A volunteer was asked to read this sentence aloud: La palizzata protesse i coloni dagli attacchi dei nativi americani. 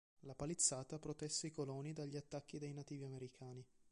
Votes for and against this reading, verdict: 3, 2, accepted